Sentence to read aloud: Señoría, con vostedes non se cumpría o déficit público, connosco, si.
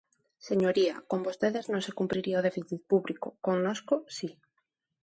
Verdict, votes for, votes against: rejected, 0, 2